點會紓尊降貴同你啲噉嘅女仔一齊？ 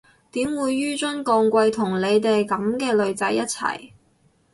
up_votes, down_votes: 2, 4